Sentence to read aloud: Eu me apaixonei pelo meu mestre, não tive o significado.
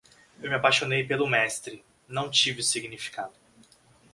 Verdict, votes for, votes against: rejected, 1, 2